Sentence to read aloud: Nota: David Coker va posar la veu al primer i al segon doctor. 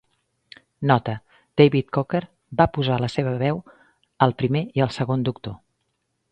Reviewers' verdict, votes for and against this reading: rejected, 0, 2